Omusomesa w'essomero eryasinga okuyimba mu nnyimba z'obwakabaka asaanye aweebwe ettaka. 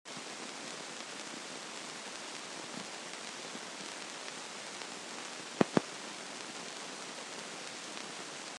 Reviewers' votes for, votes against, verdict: 0, 2, rejected